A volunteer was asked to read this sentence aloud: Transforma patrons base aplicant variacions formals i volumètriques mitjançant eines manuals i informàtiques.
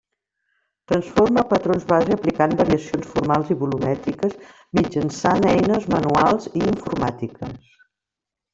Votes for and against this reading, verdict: 1, 2, rejected